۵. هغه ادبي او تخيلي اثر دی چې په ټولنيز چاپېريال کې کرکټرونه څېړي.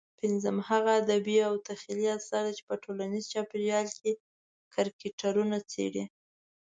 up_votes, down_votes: 0, 2